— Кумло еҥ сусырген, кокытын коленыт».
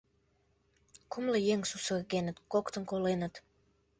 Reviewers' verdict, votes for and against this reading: rejected, 1, 2